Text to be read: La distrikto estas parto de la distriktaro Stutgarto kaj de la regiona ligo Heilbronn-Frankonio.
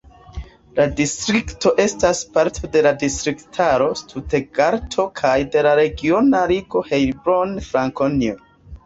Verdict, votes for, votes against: accepted, 2, 0